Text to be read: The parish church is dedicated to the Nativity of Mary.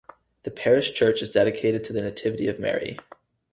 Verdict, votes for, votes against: accepted, 4, 0